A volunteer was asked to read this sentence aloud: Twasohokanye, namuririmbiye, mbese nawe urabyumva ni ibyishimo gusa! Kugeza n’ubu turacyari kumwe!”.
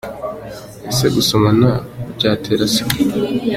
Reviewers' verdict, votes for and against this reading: rejected, 0, 2